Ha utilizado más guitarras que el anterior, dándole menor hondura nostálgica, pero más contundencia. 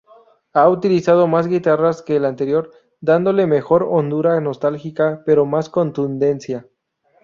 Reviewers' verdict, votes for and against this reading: rejected, 0, 2